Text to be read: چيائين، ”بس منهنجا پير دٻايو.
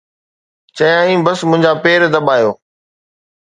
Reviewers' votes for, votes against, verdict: 2, 0, accepted